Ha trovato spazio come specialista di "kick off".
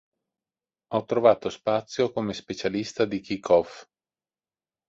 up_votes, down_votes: 0, 2